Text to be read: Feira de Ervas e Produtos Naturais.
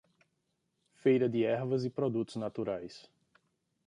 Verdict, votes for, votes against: accepted, 2, 0